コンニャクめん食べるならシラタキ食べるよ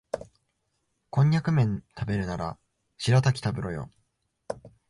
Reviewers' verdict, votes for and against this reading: rejected, 0, 2